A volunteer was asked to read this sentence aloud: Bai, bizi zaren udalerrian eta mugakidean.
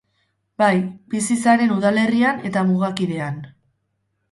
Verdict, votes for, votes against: rejected, 2, 2